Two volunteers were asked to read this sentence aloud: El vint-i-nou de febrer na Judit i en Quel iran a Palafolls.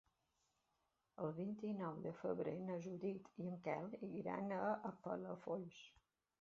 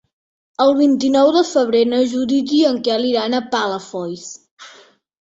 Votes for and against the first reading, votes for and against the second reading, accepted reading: 0, 2, 3, 0, second